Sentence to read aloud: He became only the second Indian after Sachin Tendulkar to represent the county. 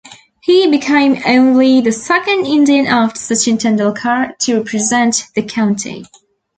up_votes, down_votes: 1, 2